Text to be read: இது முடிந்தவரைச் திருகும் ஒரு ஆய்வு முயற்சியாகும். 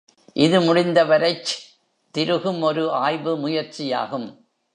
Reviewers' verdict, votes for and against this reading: rejected, 0, 2